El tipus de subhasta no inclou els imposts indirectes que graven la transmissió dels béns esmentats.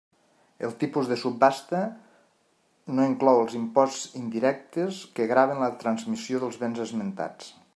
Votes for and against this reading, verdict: 3, 0, accepted